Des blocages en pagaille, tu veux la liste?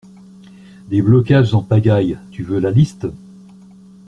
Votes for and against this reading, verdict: 2, 0, accepted